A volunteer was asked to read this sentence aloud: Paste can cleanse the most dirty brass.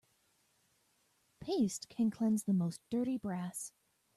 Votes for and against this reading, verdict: 2, 0, accepted